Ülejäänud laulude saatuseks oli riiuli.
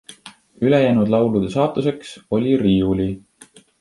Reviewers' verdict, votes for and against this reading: accepted, 2, 0